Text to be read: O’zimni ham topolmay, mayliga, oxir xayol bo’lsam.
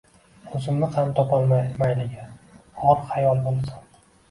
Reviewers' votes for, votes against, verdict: 1, 2, rejected